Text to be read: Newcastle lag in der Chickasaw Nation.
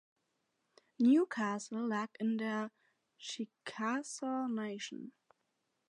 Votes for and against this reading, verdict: 4, 0, accepted